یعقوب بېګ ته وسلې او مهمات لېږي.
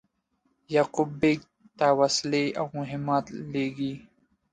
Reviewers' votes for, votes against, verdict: 2, 0, accepted